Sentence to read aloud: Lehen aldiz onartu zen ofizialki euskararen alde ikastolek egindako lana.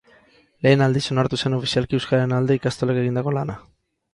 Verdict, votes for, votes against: rejected, 2, 2